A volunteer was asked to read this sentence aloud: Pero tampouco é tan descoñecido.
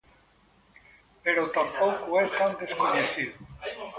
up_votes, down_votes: 3, 0